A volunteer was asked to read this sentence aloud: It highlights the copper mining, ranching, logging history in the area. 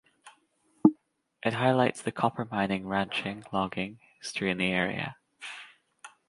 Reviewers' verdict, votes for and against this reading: rejected, 1, 2